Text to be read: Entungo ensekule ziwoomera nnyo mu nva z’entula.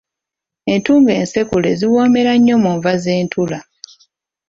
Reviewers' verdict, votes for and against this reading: accepted, 2, 0